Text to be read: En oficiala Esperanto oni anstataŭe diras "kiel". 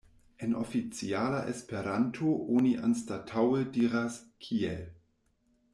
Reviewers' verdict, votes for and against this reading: accepted, 2, 1